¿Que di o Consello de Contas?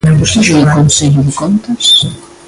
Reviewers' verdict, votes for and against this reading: rejected, 0, 2